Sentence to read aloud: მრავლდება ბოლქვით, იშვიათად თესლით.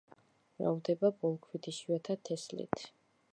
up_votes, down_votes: 0, 2